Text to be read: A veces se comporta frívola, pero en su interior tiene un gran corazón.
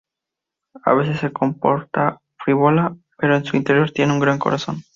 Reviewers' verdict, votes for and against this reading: rejected, 0, 2